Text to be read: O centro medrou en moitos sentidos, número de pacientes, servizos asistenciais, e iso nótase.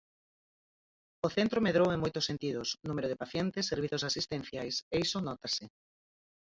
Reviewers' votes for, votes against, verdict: 0, 4, rejected